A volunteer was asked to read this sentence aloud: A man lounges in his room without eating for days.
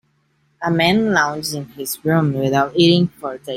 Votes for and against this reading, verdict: 1, 2, rejected